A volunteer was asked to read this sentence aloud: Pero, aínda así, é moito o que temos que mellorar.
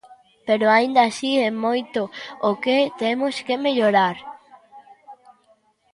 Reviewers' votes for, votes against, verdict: 2, 0, accepted